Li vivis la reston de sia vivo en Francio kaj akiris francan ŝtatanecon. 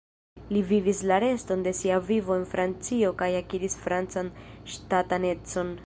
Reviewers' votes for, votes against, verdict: 1, 2, rejected